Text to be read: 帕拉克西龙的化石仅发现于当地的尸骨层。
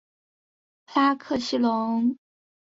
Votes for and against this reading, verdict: 0, 2, rejected